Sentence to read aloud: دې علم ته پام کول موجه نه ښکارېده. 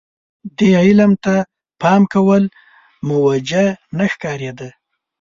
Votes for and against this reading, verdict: 2, 0, accepted